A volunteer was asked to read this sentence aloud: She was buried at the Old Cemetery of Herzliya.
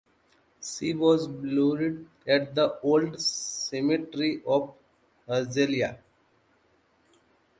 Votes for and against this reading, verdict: 0, 2, rejected